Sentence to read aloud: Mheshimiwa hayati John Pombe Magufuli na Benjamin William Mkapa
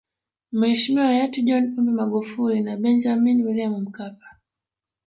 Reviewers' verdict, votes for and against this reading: rejected, 0, 2